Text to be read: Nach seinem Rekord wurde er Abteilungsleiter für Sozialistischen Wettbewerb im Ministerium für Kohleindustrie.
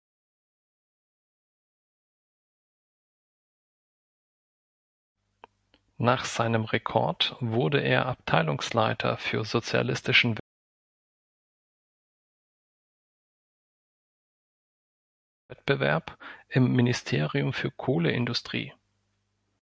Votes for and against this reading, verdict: 1, 2, rejected